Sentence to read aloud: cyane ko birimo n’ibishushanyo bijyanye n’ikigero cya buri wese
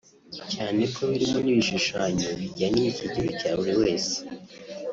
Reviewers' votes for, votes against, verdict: 0, 2, rejected